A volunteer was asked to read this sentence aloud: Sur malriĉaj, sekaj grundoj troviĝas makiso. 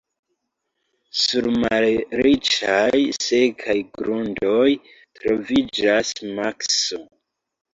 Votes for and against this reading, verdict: 0, 2, rejected